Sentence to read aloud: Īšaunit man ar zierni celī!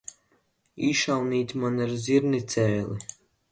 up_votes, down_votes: 0, 2